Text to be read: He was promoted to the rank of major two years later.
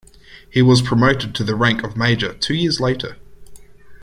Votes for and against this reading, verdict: 2, 1, accepted